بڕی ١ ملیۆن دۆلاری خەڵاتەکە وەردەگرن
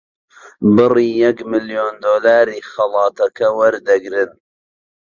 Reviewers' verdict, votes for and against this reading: rejected, 0, 2